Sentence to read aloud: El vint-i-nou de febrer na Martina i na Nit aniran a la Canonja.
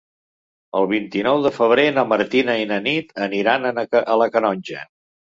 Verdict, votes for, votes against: rejected, 0, 2